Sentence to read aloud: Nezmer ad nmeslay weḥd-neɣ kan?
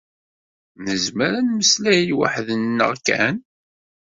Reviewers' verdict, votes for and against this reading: accepted, 2, 0